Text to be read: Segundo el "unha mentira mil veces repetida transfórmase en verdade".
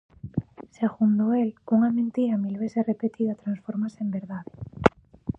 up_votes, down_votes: 2, 1